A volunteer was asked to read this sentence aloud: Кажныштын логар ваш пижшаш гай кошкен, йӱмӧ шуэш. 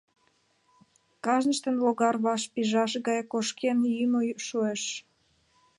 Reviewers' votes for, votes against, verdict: 3, 2, accepted